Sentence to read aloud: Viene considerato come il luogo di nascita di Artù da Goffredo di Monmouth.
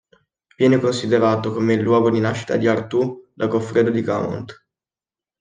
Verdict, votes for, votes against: rejected, 1, 2